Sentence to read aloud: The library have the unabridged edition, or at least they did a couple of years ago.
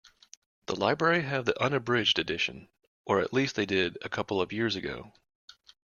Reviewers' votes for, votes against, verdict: 2, 0, accepted